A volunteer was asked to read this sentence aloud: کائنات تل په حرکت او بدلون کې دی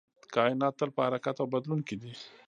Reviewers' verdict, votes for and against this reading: rejected, 1, 2